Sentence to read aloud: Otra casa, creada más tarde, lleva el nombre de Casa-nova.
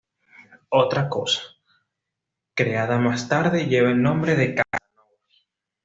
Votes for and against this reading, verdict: 1, 2, rejected